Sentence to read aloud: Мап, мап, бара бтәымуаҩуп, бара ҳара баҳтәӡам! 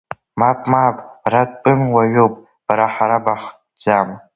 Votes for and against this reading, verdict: 0, 2, rejected